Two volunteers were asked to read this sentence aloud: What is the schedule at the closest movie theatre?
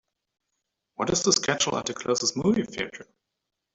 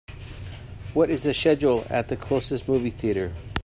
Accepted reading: second